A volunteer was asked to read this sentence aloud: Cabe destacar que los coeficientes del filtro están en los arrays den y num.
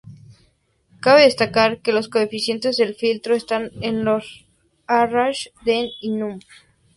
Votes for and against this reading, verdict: 0, 2, rejected